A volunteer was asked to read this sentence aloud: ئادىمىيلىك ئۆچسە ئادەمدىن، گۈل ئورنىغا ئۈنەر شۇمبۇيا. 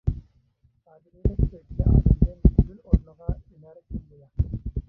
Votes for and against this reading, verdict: 1, 2, rejected